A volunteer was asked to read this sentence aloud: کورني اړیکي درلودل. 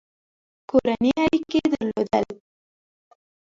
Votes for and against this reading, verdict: 2, 1, accepted